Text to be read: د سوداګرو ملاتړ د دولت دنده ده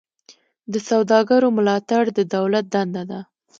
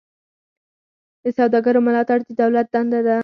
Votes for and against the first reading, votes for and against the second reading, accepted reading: 2, 0, 0, 4, first